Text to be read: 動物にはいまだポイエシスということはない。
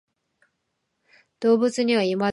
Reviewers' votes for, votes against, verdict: 0, 2, rejected